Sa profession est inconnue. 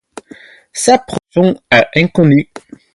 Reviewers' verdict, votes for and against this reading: rejected, 0, 4